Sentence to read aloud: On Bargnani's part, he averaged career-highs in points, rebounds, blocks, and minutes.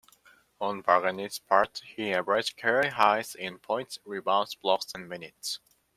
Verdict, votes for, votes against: rejected, 1, 2